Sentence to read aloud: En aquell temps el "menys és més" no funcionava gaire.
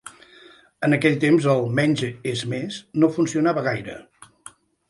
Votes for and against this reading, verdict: 0, 2, rejected